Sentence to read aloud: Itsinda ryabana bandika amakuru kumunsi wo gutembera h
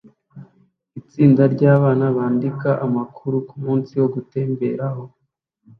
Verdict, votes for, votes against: accepted, 3, 0